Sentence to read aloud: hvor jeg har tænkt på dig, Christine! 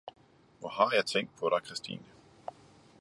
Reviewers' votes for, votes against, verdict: 1, 2, rejected